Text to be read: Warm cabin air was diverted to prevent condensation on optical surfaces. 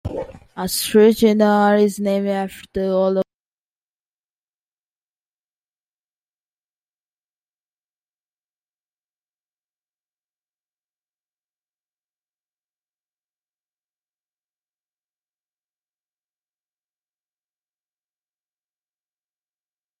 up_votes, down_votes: 0, 2